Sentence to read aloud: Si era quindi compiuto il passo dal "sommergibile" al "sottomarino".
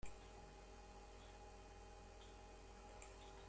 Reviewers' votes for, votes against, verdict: 0, 2, rejected